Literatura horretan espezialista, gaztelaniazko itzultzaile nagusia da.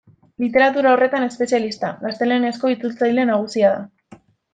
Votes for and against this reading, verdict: 1, 2, rejected